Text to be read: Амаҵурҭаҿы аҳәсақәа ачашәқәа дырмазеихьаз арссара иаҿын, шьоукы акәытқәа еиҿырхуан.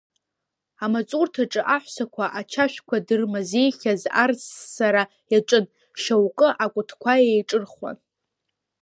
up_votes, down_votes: 1, 2